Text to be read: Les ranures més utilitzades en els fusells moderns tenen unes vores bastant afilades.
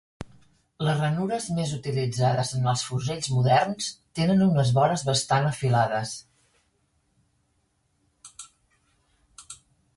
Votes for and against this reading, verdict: 3, 0, accepted